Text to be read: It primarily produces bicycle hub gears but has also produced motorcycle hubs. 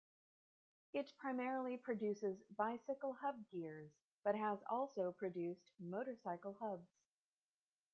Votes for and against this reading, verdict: 1, 2, rejected